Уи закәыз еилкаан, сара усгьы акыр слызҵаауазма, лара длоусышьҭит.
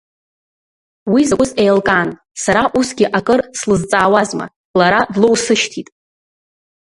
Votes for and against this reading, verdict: 2, 1, accepted